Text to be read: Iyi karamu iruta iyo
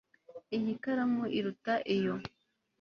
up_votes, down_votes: 2, 0